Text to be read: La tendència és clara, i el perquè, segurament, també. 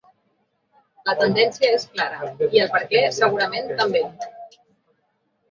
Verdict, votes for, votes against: accepted, 3, 1